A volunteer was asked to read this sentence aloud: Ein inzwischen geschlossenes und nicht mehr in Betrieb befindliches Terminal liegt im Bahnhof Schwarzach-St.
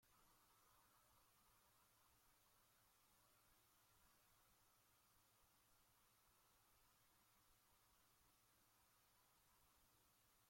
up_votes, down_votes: 0, 2